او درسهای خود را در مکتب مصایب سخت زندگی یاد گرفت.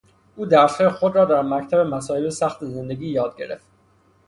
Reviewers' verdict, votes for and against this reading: accepted, 6, 0